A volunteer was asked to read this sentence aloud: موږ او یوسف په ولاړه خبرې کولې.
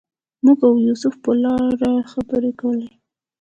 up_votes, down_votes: 2, 1